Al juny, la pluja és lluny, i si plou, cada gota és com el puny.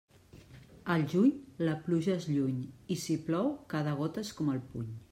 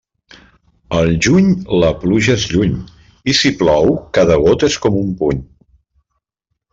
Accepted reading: first